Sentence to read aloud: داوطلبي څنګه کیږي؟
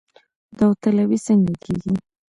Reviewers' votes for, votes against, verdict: 2, 0, accepted